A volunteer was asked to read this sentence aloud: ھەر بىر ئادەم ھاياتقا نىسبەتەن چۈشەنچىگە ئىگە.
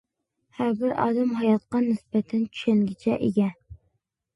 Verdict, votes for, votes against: rejected, 1, 2